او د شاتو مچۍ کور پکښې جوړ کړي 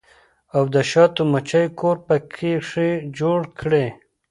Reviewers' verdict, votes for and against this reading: rejected, 1, 2